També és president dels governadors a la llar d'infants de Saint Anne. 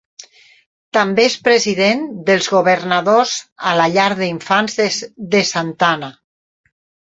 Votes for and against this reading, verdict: 0, 4, rejected